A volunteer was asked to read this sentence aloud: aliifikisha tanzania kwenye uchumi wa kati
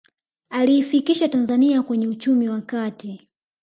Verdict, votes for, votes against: rejected, 1, 2